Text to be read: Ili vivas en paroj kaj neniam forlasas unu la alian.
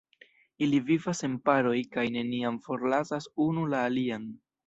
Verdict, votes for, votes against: rejected, 1, 2